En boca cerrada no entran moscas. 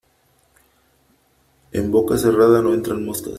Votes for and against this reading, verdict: 3, 0, accepted